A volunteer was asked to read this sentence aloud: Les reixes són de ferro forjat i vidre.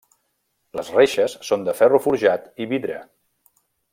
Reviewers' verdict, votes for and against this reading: accepted, 3, 0